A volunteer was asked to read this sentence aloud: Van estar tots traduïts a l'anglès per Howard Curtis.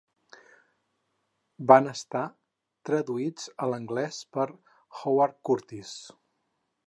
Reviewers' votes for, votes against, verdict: 0, 4, rejected